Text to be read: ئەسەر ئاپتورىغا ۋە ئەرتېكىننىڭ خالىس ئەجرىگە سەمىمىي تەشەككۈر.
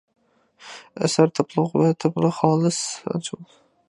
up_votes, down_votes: 0, 2